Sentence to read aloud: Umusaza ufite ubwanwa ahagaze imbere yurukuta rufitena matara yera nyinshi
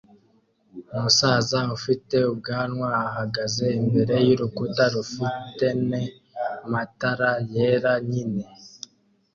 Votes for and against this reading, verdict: 2, 0, accepted